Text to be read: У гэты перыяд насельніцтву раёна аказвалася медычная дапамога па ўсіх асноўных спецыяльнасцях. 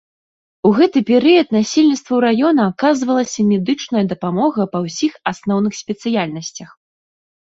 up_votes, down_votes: 2, 0